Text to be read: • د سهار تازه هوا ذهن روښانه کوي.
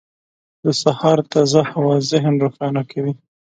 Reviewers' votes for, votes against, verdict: 2, 0, accepted